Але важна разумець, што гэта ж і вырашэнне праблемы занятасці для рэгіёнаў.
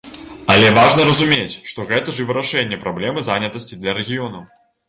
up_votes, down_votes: 2, 0